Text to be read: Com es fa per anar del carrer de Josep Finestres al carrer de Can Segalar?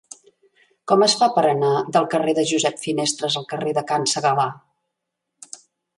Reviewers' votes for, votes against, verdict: 3, 0, accepted